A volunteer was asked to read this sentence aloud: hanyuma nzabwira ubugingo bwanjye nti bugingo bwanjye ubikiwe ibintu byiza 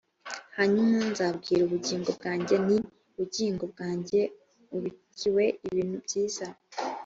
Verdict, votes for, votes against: accepted, 2, 0